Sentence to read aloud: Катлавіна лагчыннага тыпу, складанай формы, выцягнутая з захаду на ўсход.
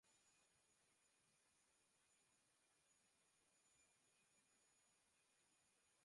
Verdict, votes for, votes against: rejected, 0, 2